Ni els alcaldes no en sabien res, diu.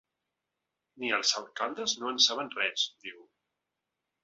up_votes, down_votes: 1, 2